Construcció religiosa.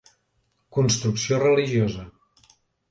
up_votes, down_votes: 4, 0